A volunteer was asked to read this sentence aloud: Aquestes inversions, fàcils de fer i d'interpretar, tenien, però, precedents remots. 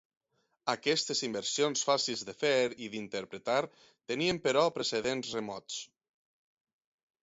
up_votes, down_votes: 6, 0